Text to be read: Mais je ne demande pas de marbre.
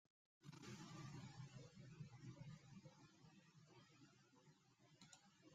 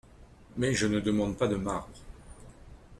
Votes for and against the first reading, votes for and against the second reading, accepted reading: 0, 2, 2, 0, second